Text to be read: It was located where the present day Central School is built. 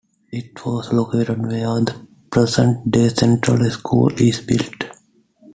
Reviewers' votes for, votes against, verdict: 2, 1, accepted